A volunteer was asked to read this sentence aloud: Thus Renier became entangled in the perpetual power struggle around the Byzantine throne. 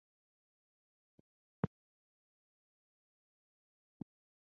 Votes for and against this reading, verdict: 0, 6, rejected